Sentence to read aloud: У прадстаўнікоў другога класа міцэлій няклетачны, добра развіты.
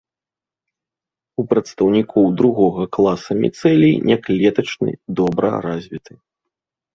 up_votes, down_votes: 3, 0